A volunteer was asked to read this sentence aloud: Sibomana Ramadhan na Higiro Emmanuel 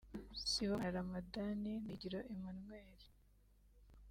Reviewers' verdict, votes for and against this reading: accepted, 2, 1